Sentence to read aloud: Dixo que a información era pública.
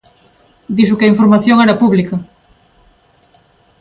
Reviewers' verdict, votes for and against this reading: accepted, 2, 0